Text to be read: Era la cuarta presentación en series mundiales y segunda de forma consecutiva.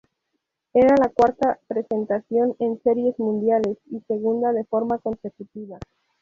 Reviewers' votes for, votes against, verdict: 0, 2, rejected